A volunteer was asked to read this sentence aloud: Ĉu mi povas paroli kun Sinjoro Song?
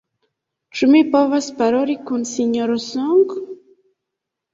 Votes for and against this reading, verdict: 2, 0, accepted